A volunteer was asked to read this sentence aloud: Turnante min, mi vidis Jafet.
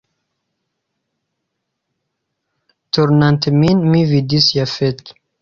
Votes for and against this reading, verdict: 1, 2, rejected